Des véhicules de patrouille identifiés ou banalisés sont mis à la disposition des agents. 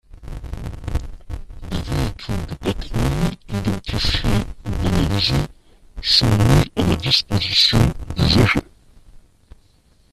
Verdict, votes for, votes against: rejected, 0, 2